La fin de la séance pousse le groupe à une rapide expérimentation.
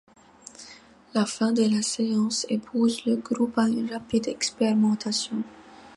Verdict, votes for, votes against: accepted, 2, 1